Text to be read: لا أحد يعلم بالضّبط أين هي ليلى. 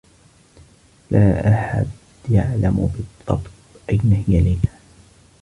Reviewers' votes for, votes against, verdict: 2, 1, accepted